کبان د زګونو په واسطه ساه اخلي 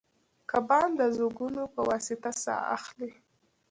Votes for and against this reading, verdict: 1, 2, rejected